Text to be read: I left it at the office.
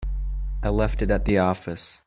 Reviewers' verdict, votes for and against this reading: accepted, 2, 0